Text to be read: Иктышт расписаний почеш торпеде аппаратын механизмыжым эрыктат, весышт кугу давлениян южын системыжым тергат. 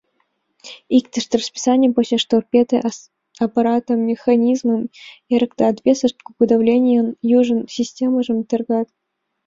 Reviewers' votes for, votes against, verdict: 1, 2, rejected